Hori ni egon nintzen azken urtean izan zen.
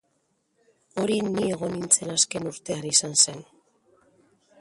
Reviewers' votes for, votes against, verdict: 1, 2, rejected